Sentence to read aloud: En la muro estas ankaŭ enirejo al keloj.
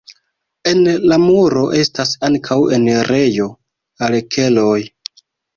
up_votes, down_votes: 0, 2